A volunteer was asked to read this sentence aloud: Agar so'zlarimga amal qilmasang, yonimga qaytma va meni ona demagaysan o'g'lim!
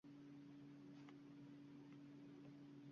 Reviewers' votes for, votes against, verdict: 0, 2, rejected